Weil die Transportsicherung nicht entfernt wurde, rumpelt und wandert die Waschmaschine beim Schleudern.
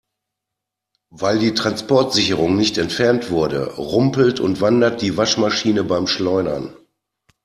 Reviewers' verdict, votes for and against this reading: accepted, 2, 0